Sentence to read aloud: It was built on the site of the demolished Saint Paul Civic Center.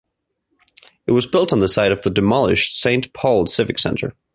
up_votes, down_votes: 2, 1